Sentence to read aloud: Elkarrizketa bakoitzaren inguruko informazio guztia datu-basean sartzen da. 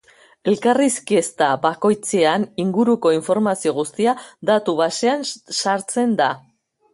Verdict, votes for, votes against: rejected, 1, 3